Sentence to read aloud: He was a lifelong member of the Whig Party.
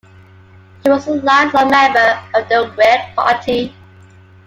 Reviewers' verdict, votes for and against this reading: accepted, 2, 0